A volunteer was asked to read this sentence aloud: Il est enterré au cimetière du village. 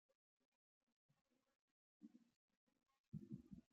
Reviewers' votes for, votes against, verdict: 0, 2, rejected